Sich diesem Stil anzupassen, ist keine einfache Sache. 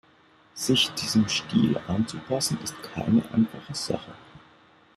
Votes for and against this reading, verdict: 2, 0, accepted